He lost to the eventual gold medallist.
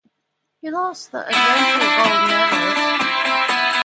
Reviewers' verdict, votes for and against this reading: accepted, 2, 1